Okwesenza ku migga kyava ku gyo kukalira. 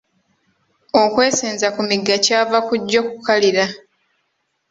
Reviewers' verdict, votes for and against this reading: accepted, 2, 0